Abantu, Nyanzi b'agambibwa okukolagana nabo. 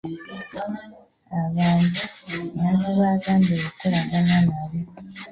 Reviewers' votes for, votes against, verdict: 1, 2, rejected